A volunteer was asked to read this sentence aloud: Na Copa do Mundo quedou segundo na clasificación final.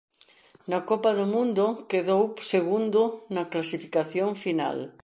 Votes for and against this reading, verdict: 2, 0, accepted